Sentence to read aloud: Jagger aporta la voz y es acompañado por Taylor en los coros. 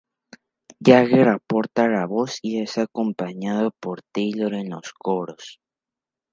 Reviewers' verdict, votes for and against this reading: accepted, 2, 0